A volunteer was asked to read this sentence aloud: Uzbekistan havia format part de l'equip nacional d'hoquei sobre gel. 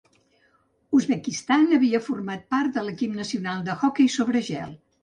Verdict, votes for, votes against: rejected, 0, 2